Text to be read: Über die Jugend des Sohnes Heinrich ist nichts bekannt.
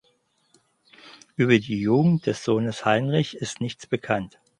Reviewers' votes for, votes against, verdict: 4, 0, accepted